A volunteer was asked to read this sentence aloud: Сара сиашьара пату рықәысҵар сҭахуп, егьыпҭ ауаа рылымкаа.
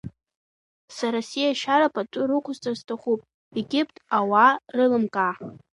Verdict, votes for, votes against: accepted, 2, 1